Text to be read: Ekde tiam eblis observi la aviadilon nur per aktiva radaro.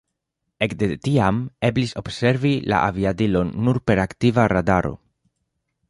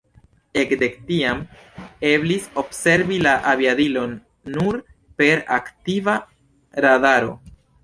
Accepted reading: first